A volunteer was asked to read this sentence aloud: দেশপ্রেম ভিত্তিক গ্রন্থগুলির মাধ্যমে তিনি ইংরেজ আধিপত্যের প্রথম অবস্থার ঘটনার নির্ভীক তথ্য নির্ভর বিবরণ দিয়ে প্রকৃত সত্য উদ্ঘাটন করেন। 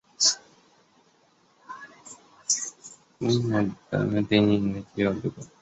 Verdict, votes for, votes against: rejected, 0, 2